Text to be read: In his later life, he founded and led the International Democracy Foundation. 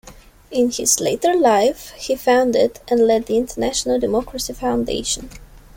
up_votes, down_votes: 2, 0